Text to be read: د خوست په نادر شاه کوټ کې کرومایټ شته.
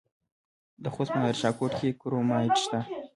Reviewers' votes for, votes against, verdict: 1, 2, rejected